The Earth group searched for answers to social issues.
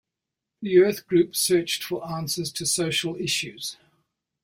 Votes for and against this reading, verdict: 2, 0, accepted